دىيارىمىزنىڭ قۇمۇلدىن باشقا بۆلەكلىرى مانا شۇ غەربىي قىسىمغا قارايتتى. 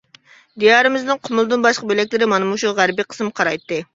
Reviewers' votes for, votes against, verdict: 0, 2, rejected